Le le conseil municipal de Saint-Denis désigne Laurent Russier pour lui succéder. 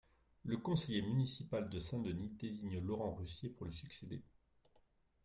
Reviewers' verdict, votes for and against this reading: rejected, 0, 2